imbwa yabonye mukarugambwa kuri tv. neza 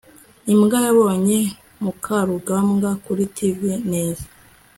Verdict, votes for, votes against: accepted, 2, 0